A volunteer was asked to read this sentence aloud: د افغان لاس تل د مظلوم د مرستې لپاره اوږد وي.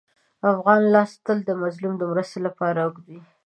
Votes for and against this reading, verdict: 2, 0, accepted